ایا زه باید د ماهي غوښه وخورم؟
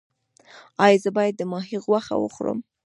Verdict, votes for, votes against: accepted, 3, 1